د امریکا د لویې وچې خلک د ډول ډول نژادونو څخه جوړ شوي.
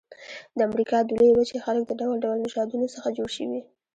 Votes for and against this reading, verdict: 0, 2, rejected